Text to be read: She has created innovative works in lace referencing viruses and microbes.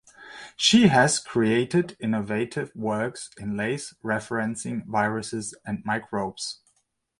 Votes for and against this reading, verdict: 2, 0, accepted